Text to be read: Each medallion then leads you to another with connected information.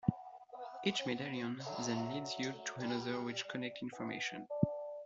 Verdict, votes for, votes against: rejected, 1, 2